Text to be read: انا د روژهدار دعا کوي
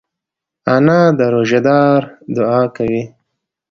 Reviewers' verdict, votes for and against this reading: accepted, 2, 0